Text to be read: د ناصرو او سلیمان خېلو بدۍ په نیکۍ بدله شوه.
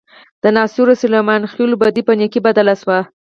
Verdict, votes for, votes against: accepted, 4, 2